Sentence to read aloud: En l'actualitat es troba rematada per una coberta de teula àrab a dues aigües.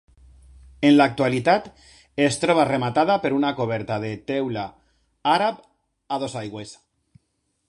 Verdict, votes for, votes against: rejected, 1, 2